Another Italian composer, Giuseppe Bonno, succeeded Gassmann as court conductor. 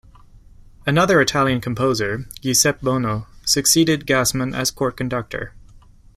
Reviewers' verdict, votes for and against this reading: accepted, 2, 0